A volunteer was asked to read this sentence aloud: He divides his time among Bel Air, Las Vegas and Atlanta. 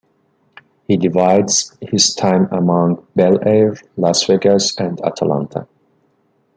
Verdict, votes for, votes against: accepted, 2, 0